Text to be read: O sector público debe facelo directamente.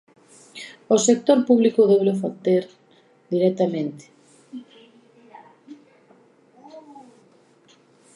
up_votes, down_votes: 0, 2